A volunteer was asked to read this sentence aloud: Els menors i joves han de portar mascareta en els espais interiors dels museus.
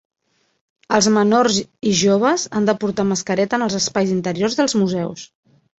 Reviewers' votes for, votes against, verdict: 2, 0, accepted